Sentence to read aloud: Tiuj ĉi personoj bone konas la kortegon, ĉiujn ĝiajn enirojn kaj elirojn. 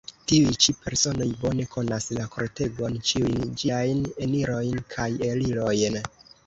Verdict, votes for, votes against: rejected, 0, 2